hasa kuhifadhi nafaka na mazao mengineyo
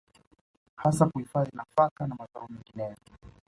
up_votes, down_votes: 2, 0